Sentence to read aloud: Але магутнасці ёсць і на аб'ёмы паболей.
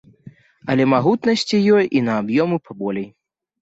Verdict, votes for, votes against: rejected, 0, 2